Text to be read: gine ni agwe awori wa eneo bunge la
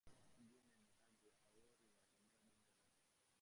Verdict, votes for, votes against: rejected, 0, 2